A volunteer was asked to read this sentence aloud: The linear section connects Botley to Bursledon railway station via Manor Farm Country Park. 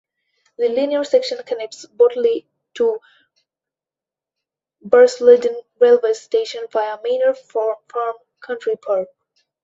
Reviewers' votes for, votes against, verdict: 0, 2, rejected